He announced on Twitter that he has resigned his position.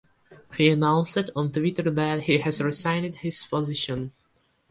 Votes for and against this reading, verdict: 2, 1, accepted